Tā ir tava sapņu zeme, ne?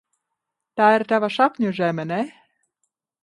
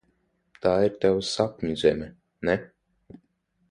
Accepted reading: second